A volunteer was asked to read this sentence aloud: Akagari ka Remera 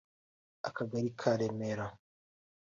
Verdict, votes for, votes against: accepted, 2, 1